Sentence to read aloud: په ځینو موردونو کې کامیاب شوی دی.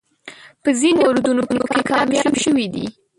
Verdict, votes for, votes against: rejected, 1, 3